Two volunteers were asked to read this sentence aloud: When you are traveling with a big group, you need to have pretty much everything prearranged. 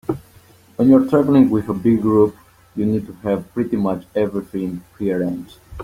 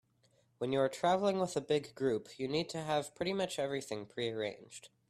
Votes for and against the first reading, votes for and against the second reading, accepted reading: 1, 2, 2, 0, second